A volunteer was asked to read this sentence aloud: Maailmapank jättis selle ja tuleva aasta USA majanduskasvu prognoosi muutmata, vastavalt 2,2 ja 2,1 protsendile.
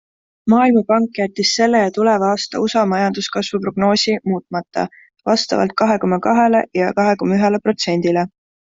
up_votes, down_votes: 0, 2